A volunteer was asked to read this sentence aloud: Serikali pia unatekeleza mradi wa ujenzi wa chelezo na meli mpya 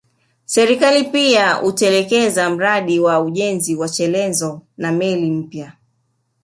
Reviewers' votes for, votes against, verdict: 0, 2, rejected